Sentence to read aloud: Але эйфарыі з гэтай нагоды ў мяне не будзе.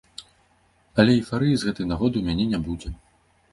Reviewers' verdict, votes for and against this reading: accepted, 2, 0